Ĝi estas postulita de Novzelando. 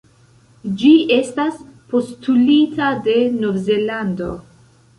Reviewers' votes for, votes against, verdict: 2, 0, accepted